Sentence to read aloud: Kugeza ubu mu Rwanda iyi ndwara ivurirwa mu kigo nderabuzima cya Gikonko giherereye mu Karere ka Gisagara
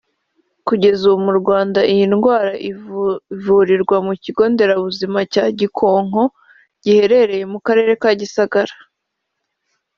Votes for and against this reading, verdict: 0, 2, rejected